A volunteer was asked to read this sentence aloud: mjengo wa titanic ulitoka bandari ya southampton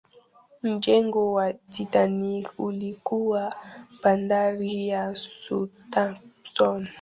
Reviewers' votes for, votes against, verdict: 0, 3, rejected